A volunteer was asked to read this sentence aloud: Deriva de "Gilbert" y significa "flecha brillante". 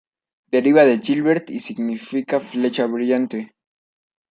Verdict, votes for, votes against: accepted, 2, 1